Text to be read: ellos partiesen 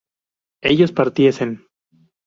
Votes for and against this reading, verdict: 2, 2, rejected